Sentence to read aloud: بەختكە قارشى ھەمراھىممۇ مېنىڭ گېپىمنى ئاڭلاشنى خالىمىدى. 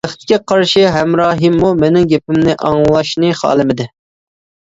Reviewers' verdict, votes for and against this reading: accepted, 2, 0